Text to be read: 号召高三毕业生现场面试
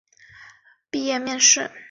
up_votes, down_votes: 0, 2